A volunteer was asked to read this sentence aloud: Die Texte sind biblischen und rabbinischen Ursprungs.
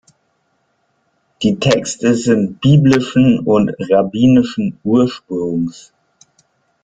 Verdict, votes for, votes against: rejected, 1, 2